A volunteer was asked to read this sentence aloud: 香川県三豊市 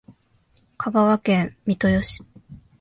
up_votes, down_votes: 2, 0